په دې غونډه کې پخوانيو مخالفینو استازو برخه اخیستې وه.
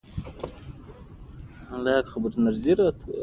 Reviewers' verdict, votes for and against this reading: accepted, 2, 0